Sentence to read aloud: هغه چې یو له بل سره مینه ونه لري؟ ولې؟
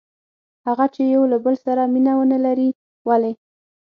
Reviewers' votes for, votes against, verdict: 6, 0, accepted